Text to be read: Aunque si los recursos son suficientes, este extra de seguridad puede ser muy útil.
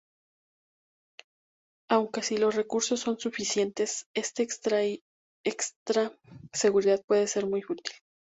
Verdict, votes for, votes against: rejected, 0, 2